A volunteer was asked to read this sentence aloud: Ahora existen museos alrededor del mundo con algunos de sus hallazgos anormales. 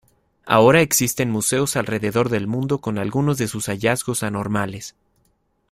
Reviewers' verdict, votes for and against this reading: accepted, 2, 0